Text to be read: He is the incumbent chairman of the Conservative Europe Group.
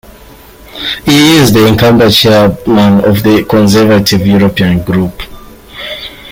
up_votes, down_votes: 0, 2